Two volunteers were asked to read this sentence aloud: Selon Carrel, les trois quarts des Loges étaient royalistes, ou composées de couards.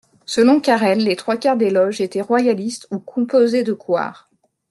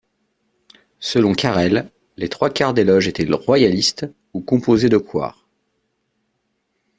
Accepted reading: first